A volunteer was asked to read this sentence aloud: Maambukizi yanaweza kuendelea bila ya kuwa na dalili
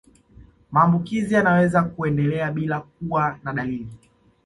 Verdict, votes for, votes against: accepted, 2, 0